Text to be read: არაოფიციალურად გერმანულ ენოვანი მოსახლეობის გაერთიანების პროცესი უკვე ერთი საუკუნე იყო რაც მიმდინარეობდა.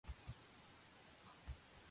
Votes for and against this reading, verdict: 1, 2, rejected